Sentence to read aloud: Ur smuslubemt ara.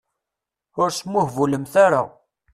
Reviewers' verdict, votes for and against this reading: rejected, 1, 2